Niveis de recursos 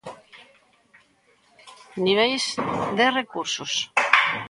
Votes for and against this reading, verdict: 2, 0, accepted